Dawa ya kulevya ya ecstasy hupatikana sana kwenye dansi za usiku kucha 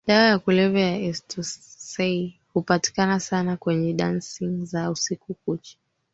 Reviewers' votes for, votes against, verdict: 2, 3, rejected